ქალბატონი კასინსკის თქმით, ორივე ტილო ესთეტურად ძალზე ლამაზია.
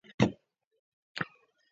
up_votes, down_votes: 1, 2